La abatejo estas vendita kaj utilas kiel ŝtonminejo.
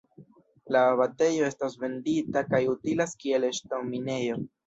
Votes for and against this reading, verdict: 1, 2, rejected